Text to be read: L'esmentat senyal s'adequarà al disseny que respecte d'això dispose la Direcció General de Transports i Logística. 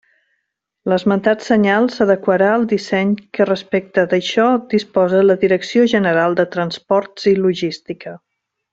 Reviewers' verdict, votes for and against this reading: accepted, 2, 0